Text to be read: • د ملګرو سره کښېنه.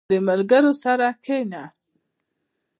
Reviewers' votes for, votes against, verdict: 1, 2, rejected